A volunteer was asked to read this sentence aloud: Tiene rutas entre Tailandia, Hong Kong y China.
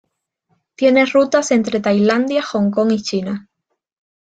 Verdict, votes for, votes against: accepted, 2, 0